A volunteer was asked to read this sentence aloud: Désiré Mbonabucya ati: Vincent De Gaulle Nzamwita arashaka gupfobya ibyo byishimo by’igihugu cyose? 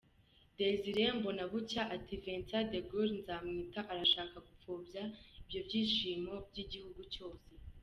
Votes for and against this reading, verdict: 2, 0, accepted